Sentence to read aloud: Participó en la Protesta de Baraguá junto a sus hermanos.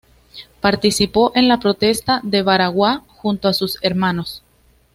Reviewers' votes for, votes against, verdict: 2, 0, accepted